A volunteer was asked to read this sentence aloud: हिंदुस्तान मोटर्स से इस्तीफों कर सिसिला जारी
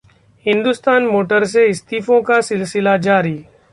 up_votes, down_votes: 1, 2